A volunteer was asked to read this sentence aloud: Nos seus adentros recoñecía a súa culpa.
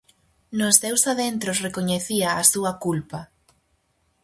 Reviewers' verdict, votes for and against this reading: accepted, 4, 0